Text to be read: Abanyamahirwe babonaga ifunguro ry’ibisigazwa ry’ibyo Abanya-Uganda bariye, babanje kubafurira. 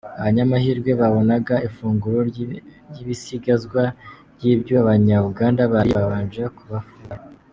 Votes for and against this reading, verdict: 1, 2, rejected